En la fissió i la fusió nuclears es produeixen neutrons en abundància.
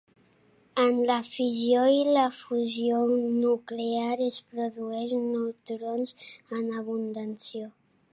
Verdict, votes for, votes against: rejected, 0, 2